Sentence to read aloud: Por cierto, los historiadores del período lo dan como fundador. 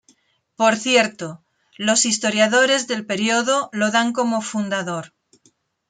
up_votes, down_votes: 2, 0